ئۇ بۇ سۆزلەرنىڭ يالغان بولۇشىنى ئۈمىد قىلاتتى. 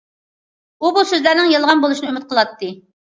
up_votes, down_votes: 2, 0